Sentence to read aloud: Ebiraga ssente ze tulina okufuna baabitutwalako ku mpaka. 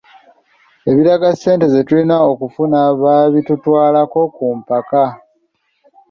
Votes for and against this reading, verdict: 2, 1, accepted